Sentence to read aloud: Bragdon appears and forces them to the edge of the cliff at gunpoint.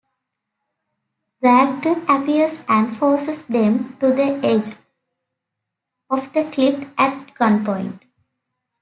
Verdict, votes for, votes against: accepted, 2, 0